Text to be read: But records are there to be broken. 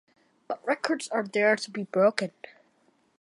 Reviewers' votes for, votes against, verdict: 2, 0, accepted